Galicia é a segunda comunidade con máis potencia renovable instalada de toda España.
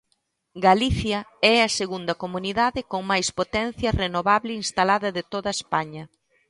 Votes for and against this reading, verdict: 2, 0, accepted